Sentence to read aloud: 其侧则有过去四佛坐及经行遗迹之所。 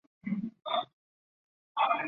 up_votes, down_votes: 0, 4